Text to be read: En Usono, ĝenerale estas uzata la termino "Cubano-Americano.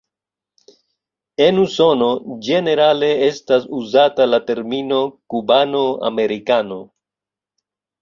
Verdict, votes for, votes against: accepted, 2, 1